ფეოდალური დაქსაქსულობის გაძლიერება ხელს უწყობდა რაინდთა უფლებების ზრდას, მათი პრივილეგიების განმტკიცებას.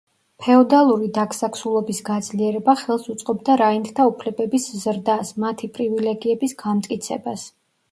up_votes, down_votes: 1, 2